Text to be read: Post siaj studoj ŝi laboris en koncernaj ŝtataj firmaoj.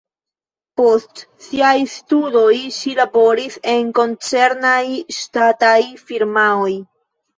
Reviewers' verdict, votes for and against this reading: accepted, 2, 0